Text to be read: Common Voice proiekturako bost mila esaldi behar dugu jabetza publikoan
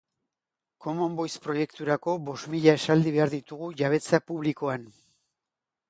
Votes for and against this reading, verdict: 1, 2, rejected